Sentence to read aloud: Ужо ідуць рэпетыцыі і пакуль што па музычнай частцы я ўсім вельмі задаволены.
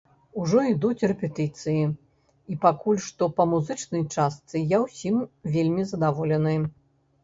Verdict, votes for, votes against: rejected, 0, 2